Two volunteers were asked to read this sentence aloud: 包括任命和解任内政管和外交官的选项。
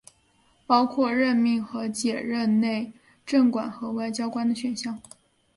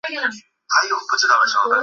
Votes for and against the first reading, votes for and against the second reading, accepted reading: 3, 0, 0, 3, first